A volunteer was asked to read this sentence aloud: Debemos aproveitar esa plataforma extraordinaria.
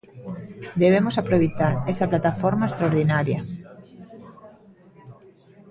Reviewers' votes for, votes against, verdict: 1, 2, rejected